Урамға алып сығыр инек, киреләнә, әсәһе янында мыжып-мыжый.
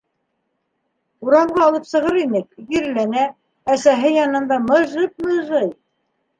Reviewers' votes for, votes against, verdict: 2, 0, accepted